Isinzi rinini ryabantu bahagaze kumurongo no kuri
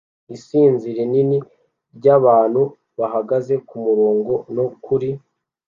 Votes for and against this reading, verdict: 2, 0, accepted